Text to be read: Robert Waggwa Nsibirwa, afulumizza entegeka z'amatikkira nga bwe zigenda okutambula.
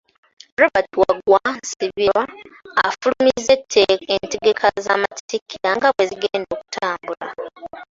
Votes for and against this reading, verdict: 0, 2, rejected